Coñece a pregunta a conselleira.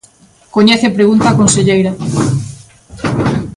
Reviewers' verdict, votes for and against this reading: rejected, 1, 2